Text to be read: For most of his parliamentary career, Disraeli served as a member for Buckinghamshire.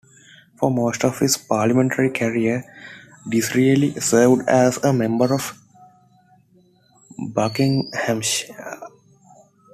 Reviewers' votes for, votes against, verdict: 1, 2, rejected